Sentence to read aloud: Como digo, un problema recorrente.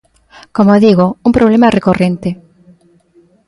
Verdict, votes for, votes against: accepted, 2, 0